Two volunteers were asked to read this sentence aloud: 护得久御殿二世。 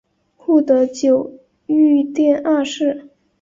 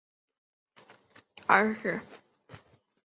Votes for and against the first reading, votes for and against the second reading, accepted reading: 2, 0, 0, 2, first